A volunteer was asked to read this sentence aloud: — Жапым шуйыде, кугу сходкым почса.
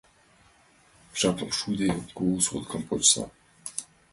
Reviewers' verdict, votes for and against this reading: accepted, 3, 1